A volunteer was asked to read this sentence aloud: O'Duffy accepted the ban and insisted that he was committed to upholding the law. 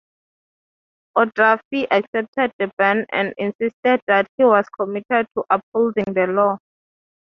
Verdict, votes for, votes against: accepted, 3, 0